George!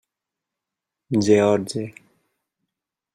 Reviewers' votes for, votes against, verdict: 2, 0, accepted